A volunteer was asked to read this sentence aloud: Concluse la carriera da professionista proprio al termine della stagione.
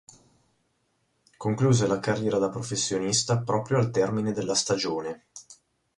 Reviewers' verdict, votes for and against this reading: rejected, 2, 2